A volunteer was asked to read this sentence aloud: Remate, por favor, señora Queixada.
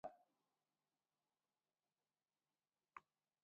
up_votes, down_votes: 0, 2